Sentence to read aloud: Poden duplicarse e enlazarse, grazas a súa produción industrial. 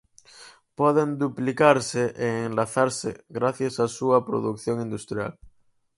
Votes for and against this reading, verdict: 0, 4, rejected